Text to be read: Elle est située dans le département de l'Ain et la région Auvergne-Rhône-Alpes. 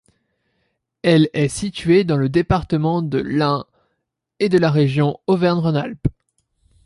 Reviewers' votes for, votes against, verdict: 0, 2, rejected